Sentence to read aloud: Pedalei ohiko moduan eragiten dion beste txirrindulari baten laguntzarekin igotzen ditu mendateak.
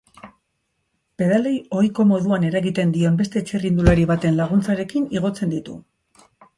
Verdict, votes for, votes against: rejected, 0, 2